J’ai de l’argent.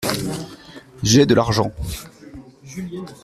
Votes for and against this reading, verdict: 2, 0, accepted